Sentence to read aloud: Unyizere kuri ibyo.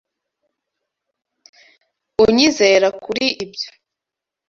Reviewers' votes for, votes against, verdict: 0, 2, rejected